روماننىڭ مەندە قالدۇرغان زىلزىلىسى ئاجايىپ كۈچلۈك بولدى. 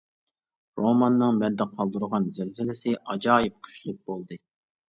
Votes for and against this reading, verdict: 1, 2, rejected